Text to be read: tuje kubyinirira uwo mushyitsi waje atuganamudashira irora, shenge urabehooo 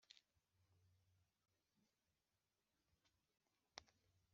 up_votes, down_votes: 1, 2